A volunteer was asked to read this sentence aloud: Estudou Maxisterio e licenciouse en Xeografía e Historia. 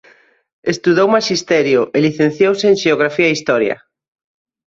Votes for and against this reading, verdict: 2, 0, accepted